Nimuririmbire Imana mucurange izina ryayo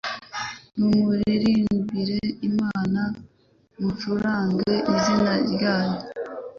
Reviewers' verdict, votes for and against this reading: accepted, 2, 0